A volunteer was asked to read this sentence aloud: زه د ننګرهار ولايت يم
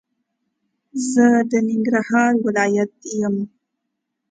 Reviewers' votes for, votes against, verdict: 2, 0, accepted